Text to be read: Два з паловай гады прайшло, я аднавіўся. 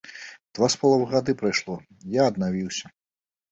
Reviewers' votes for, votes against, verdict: 2, 0, accepted